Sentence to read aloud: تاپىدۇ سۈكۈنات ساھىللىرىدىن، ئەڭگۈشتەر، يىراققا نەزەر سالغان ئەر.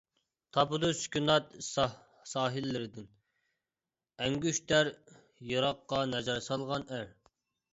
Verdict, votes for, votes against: rejected, 0, 2